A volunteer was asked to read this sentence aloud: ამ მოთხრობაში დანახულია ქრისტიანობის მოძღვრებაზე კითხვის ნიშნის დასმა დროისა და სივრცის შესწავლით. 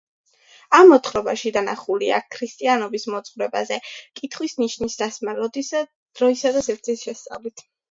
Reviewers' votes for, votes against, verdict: 0, 2, rejected